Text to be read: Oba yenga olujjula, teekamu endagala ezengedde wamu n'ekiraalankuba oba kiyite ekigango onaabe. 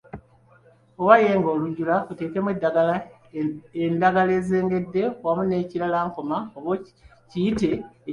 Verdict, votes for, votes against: rejected, 1, 2